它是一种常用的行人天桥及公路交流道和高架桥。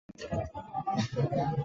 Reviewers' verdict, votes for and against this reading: rejected, 1, 2